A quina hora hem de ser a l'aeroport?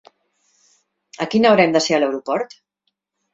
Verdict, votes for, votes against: accepted, 3, 0